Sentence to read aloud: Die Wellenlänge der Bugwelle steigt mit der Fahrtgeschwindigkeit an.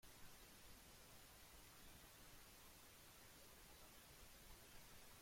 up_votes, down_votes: 0, 2